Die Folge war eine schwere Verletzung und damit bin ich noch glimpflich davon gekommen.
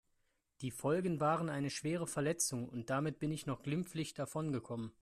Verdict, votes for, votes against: rejected, 0, 2